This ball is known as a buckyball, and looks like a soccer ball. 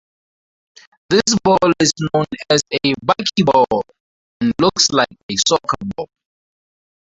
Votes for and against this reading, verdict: 0, 2, rejected